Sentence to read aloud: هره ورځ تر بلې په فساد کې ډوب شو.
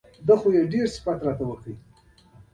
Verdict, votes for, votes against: rejected, 0, 2